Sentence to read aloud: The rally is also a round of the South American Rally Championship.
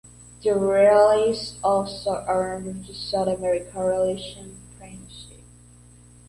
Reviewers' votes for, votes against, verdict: 0, 2, rejected